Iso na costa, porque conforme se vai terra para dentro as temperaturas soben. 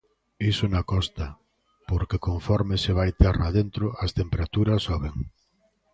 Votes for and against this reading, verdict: 0, 2, rejected